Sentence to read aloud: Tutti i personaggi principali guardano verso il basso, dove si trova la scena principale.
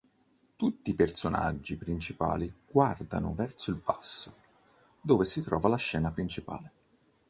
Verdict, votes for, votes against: accepted, 4, 0